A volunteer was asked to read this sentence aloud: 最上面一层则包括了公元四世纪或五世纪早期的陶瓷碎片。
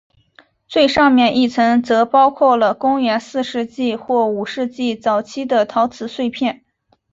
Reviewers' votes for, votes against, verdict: 4, 0, accepted